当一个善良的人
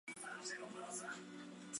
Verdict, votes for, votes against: rejected, 0, 2